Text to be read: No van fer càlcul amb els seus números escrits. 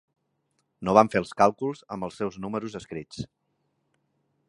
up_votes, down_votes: 0, 3